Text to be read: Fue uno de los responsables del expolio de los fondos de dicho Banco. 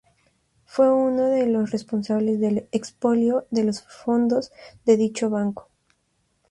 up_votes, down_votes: 4, 0